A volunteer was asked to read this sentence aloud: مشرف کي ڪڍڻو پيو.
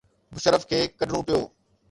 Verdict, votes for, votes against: rejected, 0, 2